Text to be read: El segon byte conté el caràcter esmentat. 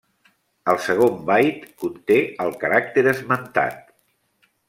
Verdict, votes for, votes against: accepted, 2, 0